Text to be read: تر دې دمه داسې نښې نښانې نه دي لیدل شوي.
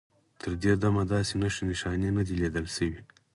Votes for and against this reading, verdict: 4, 0, accepted